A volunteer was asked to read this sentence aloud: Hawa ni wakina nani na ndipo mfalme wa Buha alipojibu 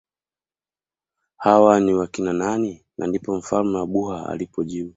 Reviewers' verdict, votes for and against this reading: accepted, 2, 0